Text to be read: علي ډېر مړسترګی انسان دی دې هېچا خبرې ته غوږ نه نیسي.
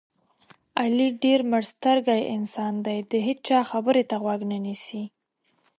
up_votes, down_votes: 2, 0